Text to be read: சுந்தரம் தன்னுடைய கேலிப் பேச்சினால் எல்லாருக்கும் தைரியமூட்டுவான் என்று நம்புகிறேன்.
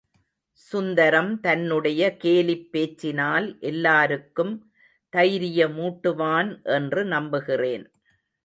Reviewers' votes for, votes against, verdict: 2, 0, accepted